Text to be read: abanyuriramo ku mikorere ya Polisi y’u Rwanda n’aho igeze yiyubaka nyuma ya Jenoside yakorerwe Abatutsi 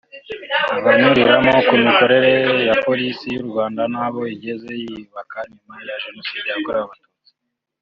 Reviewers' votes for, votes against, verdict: 2, 0, accepted